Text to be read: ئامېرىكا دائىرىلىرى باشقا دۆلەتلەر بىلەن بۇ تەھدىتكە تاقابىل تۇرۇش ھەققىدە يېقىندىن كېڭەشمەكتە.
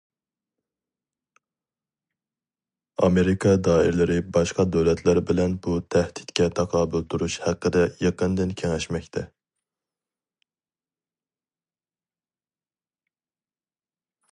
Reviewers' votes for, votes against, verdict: 2, 0, accepted